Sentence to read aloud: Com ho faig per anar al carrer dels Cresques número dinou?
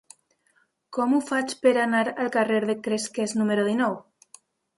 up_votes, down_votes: 0, 2